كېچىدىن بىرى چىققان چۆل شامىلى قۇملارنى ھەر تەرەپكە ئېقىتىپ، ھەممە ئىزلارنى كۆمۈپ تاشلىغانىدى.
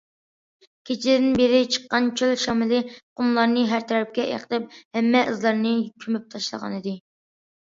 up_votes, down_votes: 2, 0